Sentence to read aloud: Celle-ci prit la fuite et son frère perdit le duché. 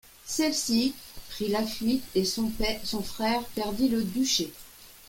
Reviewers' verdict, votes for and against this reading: rejected, 1, 2